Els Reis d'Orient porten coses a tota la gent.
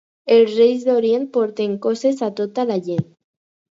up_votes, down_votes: 4, 0